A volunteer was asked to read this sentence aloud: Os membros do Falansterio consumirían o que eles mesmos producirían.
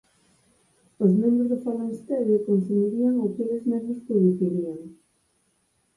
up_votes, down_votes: 0, 4